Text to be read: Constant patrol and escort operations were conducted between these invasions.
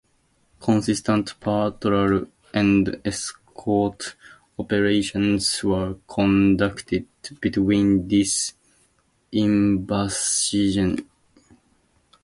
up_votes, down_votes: 0, 2